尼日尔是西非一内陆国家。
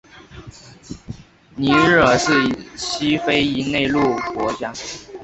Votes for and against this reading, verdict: 3, 0, accepted